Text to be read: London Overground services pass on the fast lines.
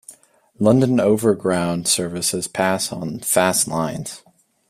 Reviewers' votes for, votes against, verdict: 0, 2, rejected